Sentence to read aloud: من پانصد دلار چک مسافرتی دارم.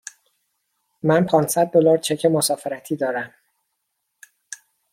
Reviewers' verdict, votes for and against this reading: accepted, 2, 0